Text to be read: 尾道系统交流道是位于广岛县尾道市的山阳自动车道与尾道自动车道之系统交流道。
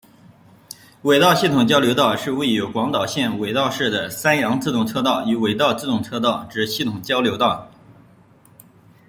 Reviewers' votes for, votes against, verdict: 2, 0, accepted